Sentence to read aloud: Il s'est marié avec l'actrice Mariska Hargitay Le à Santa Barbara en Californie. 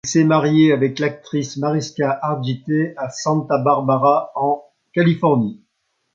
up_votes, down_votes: 1, 2